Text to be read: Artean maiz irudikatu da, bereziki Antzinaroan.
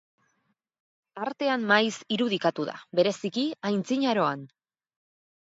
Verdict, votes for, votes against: rejected, 2, 4